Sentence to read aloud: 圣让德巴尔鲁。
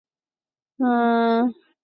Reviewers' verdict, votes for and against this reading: rejected, 3, 6